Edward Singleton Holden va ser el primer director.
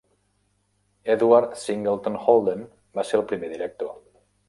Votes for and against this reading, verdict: 2, 0, accepted